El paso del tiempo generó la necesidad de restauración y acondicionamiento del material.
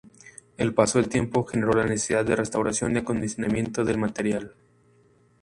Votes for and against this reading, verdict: 0, 2, rejected